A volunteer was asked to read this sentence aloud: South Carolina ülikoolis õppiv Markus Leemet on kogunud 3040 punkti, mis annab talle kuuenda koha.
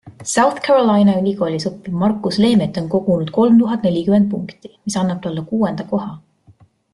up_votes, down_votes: 0, 2